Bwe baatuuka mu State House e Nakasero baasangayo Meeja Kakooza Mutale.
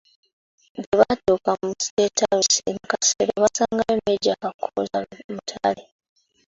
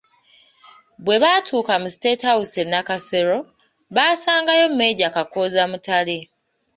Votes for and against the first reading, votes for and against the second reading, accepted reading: 0, 2, 2, 0, second